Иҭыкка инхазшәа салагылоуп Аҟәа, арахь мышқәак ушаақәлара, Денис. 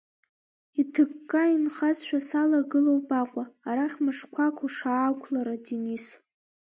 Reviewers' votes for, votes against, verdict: 0, 2, rejected